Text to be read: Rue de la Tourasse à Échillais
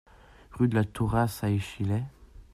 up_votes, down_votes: 0, 2